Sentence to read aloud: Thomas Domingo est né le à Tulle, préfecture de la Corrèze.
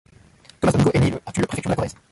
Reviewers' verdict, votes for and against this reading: rejected, 0, 2